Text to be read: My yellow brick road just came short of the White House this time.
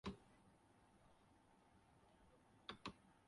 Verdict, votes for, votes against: rejected, 0, 3